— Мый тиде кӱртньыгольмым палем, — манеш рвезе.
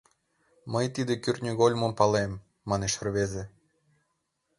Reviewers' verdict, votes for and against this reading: accepted, 2, 0